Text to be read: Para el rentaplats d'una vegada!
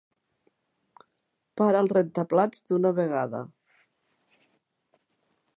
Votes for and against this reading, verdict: 2, 0, accepted